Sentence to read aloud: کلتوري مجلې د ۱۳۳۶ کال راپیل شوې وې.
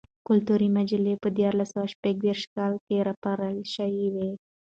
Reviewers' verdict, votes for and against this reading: rejected, 0, 2